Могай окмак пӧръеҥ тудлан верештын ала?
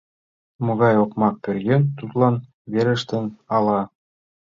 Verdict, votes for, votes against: accepted, 2, 0